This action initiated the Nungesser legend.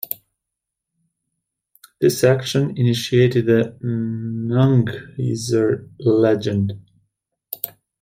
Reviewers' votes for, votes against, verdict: 0, 2, rejected